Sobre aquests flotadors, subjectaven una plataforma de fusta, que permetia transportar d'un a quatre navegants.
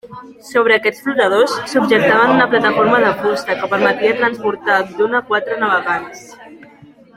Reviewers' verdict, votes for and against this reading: accepted, 2, 1